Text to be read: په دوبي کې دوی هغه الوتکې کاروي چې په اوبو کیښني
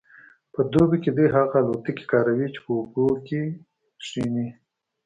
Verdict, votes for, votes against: accepted, 2, 0